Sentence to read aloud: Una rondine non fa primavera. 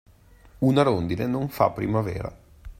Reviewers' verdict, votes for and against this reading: accepted, 2, 0